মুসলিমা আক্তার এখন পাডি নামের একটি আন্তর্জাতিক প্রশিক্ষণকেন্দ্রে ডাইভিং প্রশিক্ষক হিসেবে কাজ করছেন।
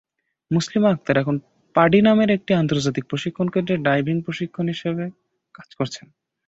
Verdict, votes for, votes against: rejected, 0, 5